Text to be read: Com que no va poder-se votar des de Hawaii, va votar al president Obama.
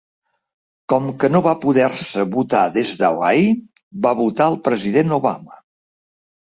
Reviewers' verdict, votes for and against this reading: rejected, 0, 2